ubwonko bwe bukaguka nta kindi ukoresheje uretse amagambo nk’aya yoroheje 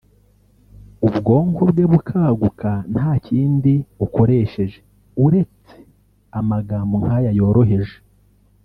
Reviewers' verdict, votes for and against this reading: accepted, 3, 1